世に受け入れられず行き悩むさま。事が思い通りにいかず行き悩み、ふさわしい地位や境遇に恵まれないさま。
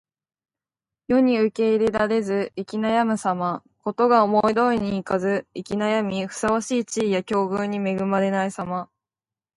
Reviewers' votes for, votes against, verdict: 2, 0, accepted